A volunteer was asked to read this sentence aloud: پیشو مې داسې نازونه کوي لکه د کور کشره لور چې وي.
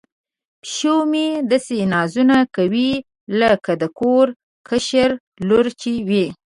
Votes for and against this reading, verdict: 1, 2, rejected